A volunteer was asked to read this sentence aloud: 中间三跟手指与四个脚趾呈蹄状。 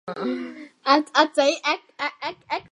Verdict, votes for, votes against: rejected, 0, 4